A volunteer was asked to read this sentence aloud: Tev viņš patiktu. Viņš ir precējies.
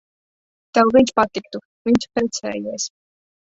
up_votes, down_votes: 1, 2